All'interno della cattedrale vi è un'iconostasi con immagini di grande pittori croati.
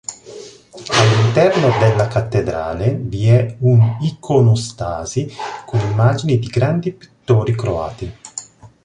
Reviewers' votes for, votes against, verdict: 2, 0, accepted